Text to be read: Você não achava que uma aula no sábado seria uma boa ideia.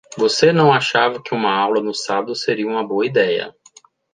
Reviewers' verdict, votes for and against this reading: accepted, 2, 0